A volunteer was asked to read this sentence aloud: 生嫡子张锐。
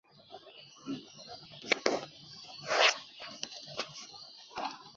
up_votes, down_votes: 0, 4